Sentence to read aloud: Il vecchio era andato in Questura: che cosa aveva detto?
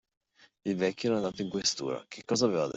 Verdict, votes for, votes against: rejected, 0, 2